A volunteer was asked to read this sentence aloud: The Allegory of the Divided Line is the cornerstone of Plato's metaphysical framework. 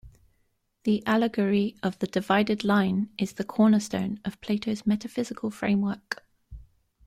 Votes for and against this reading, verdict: 2, 0, accepted